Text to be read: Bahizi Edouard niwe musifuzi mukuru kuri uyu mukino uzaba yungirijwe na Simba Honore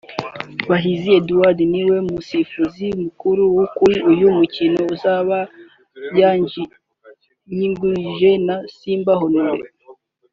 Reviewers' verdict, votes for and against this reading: rejected, 0, 2